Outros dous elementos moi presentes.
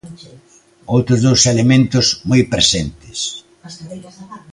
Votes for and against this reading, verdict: 11, 1, accepted